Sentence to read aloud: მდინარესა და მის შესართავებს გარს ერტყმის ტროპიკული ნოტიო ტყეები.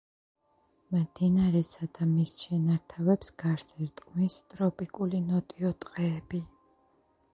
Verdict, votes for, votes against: rejected, 0, 2